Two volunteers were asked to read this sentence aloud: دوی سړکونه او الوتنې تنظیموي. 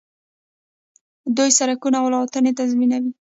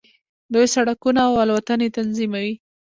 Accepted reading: second